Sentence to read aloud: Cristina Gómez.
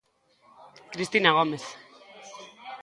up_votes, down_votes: 2, 0